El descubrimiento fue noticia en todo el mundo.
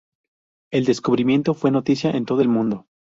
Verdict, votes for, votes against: accepted, 2, 0